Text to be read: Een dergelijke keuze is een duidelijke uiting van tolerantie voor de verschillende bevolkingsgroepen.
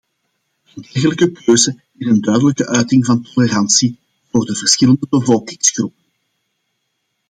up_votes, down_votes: 2, 1